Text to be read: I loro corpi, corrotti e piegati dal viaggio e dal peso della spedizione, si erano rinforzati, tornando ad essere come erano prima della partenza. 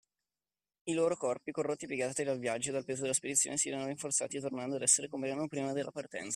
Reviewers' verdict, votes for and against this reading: rejected, 1, 2